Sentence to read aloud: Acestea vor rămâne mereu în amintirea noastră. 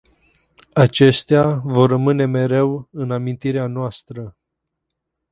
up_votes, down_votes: 4, 0